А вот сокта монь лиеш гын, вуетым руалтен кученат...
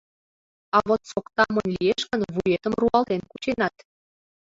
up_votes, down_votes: 1, 2